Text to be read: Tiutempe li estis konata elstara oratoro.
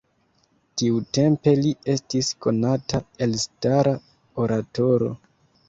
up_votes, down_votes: 2, 0